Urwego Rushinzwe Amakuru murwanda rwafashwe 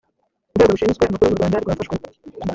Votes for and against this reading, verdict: 1, 2, rejected